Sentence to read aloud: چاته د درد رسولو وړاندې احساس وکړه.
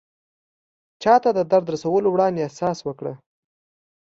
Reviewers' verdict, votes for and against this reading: accepted, 2, 0